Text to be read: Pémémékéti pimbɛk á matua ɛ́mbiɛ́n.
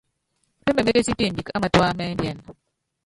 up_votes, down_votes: 0, 2